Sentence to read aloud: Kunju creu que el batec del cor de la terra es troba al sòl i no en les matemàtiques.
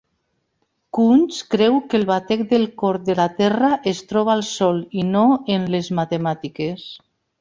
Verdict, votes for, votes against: rejected, 0, 2